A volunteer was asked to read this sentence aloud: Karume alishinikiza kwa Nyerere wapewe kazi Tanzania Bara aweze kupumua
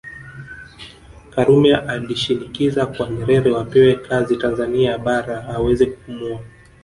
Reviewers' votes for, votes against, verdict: 2, 0, accepted